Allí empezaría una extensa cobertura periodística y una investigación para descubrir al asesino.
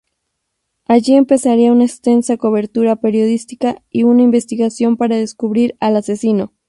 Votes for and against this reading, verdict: 2, 2, rejected